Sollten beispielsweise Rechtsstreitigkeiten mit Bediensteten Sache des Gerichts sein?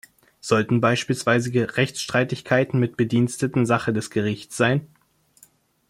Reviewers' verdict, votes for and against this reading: rejected, 1, 2